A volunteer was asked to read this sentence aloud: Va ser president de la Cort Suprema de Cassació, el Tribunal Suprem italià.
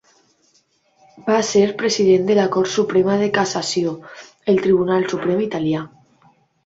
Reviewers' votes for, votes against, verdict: 3, 0, accepted